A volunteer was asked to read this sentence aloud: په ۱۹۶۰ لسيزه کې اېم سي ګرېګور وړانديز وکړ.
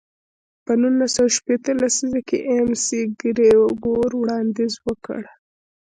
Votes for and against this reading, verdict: 0, 2, rejected